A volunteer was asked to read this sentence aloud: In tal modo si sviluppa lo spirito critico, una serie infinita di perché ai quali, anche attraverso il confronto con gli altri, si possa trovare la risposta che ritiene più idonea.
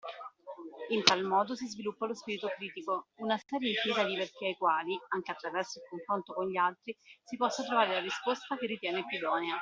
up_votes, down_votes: 2, 1